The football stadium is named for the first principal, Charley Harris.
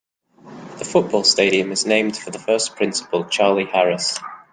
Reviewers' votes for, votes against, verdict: 2, 0, accepted